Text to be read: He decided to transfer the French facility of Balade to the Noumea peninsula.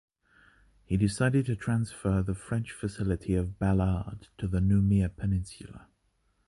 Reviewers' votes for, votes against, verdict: 2, 0, accepted